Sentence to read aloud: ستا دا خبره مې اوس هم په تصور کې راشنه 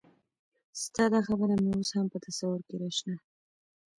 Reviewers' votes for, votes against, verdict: 1, 2, rejected